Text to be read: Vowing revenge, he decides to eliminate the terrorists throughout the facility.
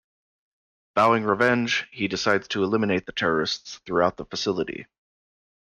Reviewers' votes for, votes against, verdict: 2, 0, accepted